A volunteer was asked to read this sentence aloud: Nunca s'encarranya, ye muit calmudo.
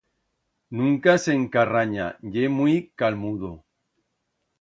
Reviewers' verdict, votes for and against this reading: accepted, 2, 0